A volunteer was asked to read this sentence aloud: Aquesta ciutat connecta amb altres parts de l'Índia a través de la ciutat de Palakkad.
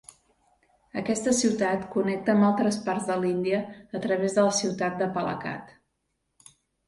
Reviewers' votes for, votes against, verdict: 2, 0, accepted